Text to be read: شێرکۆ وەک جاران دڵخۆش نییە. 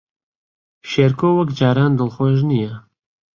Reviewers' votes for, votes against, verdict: 2, 0, accepted